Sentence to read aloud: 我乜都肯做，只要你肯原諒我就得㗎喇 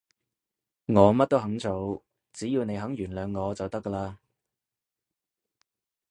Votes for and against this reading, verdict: 2, 0, accepted